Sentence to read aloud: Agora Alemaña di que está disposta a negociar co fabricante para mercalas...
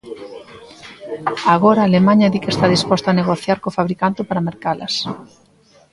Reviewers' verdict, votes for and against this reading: rejected, 1, 2